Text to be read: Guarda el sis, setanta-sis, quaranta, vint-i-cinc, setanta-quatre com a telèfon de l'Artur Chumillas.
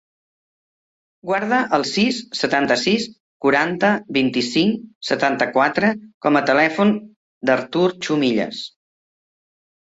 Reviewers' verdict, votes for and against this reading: accepted, 2, 1